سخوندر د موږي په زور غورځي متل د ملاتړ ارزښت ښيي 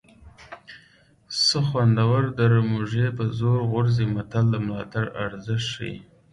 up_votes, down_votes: 1, 2